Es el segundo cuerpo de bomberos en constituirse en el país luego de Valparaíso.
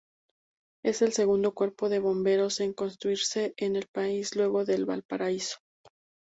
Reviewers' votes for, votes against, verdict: 0, 2, rejected